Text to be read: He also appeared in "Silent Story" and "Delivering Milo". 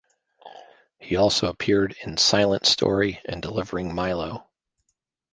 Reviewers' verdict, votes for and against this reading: accepted, 2, 0